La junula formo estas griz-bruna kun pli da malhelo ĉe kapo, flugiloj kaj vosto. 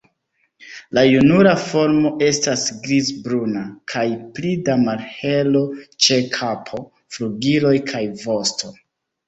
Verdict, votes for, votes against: rejected, 0, 2